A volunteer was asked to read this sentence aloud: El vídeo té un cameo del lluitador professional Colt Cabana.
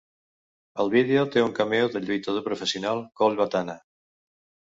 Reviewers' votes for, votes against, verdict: 0, 2, rejected